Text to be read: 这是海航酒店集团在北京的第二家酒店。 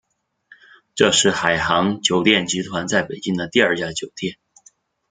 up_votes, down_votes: 2, 0